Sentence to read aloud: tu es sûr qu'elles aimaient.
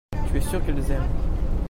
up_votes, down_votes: 0, 2